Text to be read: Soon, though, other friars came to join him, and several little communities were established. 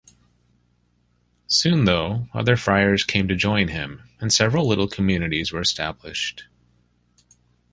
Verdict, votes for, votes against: accepted, 2, 0